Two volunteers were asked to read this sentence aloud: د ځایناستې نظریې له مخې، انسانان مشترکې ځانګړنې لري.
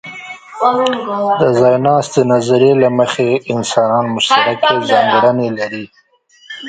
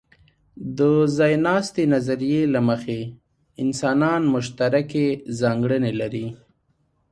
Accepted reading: second